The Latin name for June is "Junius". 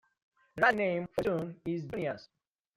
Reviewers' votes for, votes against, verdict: 1, 2, rejected